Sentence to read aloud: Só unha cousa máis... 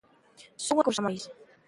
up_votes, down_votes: 1, 2